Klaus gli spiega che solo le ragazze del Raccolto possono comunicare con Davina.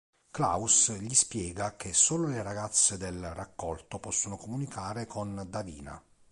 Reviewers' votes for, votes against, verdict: 2, 0, accepted